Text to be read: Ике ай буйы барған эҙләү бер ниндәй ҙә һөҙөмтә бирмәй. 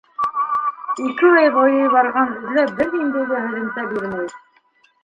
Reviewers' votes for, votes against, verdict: 0, 2, rejected